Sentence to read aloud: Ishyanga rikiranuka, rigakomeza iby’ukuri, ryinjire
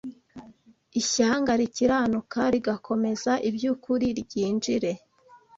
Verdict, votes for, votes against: accepted, 2, 0